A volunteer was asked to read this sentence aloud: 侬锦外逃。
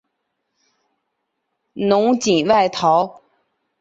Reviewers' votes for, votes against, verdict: 2, 0, accepted